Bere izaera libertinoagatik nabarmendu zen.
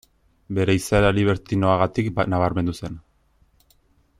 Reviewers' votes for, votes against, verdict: 1, 2, rejected